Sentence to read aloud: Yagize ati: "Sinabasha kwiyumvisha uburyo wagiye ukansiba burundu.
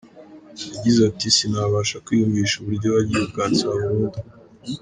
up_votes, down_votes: 2, 0